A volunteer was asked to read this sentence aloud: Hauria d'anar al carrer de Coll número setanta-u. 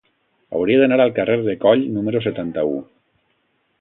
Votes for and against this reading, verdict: 2, 0, accepted